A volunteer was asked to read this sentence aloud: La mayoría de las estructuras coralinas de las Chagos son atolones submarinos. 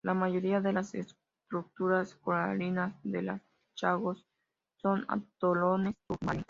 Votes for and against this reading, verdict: 0, 2, rejected